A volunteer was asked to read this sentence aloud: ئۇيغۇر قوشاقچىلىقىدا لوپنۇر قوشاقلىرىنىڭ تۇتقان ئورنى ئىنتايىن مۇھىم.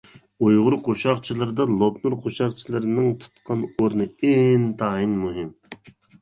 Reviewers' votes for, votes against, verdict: 0, 2, rejected